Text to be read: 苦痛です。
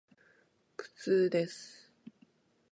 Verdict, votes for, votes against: accepted, 2, 0